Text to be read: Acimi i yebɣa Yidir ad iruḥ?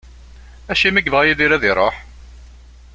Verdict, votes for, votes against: accepted, 3, 0